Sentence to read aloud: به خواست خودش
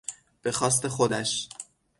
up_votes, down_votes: 6, 0